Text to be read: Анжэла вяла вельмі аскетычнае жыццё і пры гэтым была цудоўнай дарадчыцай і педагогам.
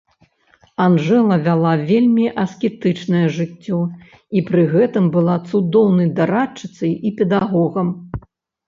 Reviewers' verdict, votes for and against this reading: accepted, 3, 0